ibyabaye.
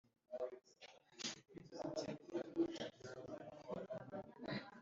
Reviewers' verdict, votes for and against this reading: rejected, 1, 2